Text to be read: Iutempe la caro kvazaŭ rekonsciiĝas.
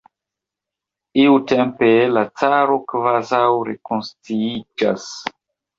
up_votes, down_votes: 1, 2